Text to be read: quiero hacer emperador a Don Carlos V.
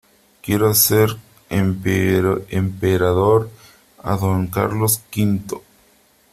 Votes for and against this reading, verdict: 0, 3, rejected